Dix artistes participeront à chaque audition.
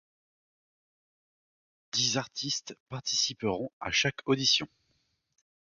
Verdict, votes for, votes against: accepted, 2, 0